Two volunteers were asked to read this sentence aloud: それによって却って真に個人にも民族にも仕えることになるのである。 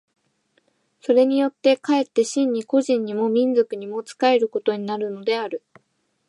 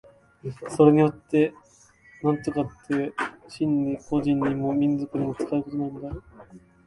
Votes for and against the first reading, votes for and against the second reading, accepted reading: 2, 0, 1, 2, first